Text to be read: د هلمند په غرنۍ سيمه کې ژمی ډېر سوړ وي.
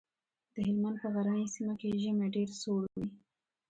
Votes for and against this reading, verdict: 2, 0, accepted